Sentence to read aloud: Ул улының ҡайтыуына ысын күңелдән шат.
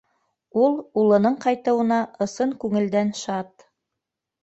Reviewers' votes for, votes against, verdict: 2, 0, accepted